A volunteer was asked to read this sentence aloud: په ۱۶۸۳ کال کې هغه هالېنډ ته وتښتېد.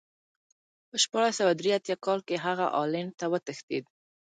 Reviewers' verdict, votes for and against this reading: rejected, 0, 2